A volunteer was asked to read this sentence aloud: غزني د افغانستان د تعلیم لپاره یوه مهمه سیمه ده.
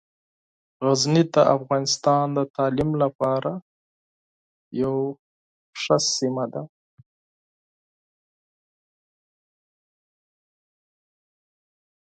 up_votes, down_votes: 0, 4